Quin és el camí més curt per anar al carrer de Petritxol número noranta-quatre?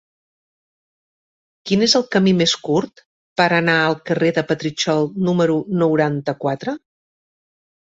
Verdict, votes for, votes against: accepted, 2, 0